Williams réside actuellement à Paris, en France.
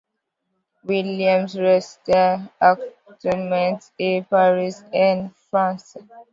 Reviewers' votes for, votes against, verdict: 0, 2, rejected